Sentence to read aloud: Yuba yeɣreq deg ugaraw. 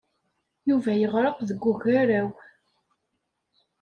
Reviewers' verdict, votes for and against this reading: accepted, 2, 0